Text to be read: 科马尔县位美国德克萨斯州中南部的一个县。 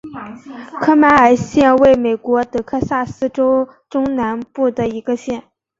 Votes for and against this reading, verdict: 1, 2, rejected